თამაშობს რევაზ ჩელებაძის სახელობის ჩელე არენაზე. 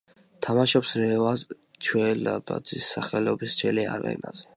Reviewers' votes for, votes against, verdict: 1, 2, rejected